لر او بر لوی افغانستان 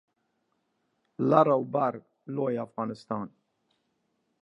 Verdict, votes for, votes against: accepted, 2, 0